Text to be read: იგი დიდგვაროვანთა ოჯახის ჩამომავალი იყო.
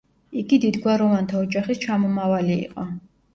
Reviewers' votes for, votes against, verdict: 2, 0, accepted